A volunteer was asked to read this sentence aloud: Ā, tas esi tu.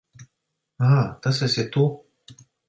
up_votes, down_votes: 2, 0